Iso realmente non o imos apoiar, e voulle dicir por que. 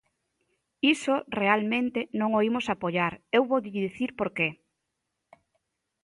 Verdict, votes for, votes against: rejected, 0, 2